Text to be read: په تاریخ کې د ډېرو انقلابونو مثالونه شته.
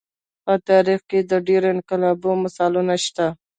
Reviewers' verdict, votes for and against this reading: accepted, 2, 0